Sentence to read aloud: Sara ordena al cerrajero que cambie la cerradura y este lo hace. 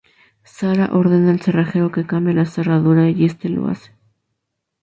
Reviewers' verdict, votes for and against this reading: accepted, 2, 0